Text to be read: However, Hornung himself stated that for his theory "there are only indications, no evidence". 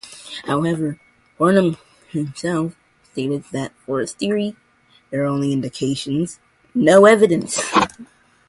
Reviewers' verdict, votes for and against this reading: rejected, 0, 2